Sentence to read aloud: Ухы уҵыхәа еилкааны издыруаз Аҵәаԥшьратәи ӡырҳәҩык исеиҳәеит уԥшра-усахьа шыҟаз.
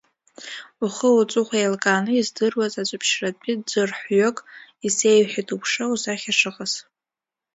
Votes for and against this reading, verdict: 2, 1, accepted